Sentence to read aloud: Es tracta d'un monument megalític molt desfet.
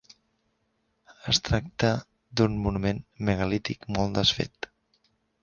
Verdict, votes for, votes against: accepted, 2, 0